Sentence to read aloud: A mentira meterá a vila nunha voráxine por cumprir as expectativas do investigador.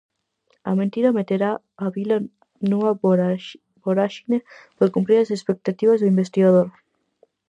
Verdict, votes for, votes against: rejected, 0, 4